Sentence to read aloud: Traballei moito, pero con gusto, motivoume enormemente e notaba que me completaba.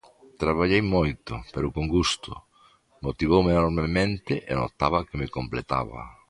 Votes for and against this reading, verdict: 2, 0, accepted